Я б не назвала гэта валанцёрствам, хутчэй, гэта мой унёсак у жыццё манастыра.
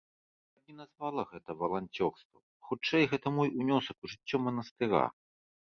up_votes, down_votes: 1, 2